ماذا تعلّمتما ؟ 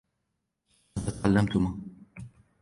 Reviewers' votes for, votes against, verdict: 2, 1, accepted